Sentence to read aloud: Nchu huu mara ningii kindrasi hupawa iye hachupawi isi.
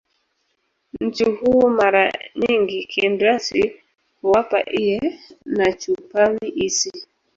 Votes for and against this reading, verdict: 0, 2, rejected